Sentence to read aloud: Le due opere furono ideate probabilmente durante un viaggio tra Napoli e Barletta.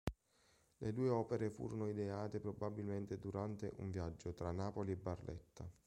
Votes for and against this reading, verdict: 2, 0, accepted